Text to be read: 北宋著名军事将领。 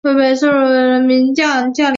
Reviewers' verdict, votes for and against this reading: rejected, 1, 4